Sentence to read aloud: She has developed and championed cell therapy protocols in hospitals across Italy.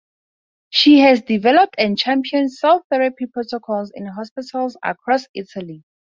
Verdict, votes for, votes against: accepted, 4, 0